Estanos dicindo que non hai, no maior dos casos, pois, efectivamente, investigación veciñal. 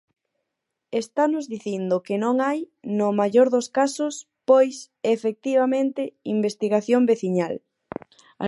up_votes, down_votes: 2, 4